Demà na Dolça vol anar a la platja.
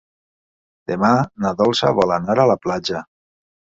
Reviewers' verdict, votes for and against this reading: accepted, 3, 0